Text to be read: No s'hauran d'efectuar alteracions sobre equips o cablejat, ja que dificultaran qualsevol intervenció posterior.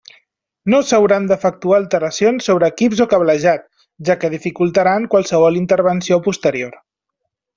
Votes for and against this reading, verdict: 3, 0, accepted